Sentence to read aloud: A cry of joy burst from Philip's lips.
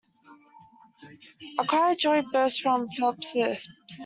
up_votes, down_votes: 0, 2